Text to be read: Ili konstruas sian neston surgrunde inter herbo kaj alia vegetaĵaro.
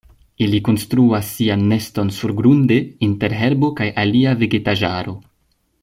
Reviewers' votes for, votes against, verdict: 2, 0, accepted